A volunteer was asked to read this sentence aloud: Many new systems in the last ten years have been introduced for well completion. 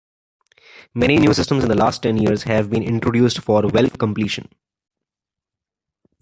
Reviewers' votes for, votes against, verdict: 2, 0, accepted